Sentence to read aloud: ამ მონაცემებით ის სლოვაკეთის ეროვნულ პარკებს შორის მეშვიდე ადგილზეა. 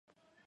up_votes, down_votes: 1, 2